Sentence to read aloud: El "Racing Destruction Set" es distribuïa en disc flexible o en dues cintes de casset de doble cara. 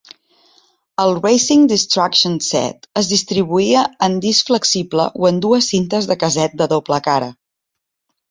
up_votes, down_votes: 2, 0